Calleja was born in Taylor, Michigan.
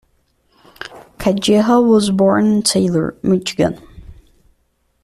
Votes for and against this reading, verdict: 1, 2, rejected